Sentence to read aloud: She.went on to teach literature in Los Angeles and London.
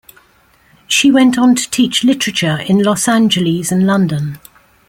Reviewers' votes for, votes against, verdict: 2, 0, accepted